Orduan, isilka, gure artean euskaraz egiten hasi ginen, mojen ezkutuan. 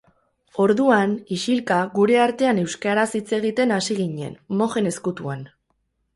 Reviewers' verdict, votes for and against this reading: rejected, 2, 2